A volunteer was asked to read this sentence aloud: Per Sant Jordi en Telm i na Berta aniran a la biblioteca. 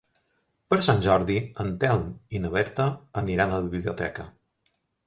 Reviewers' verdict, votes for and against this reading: accepted, 2, 0